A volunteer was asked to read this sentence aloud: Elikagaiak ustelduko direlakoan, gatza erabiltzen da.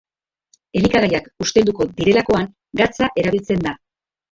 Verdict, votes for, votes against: rejected, 0, 2